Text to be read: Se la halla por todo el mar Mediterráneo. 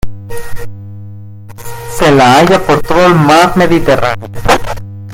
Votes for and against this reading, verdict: 1, 2, rejected